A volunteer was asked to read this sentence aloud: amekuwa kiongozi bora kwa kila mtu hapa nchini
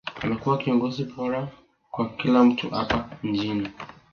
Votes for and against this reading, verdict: 2, 0, accepted